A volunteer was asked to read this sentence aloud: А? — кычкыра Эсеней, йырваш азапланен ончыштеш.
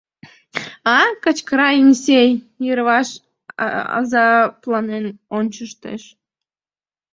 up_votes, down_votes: 2, 1